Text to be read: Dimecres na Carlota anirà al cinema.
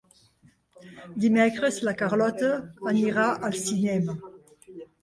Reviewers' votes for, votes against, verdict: 1, 2, rejected